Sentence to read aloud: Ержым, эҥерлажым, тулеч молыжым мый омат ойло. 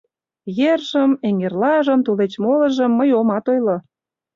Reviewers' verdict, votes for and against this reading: accepted, 2, 0